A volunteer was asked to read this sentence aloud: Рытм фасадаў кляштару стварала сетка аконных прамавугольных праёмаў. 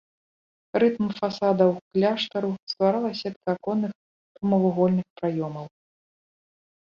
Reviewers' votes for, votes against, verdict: 0, 2, rejected